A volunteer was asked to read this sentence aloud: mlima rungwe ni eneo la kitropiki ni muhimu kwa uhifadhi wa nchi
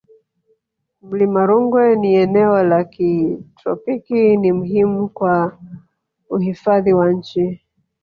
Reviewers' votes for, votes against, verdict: 2, 1, accepted